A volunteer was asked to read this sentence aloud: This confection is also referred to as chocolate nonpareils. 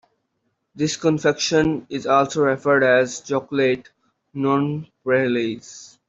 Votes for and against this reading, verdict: 0, 2, rejected